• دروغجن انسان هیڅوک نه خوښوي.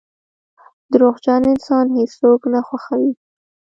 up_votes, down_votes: 2, 0